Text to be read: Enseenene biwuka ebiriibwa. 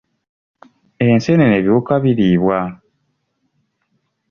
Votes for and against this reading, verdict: 2, 3, rejected